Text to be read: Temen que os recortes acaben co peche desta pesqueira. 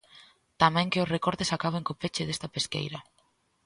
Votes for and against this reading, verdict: 0, 2, rejected